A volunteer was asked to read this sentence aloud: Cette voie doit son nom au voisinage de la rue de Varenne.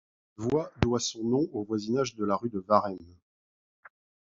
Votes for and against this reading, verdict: 0, 2, rejected